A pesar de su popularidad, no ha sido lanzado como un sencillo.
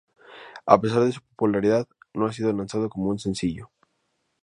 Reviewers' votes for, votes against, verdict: 2, 0, accepted